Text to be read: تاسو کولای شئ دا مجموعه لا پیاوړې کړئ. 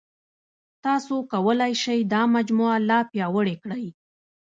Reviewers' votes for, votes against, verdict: 0, 2, rejected